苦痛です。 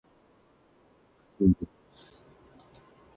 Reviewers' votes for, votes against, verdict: 0, 2, rejected